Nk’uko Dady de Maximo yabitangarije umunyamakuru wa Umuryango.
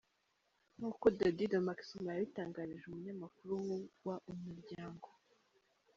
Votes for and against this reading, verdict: 1, 2, rejected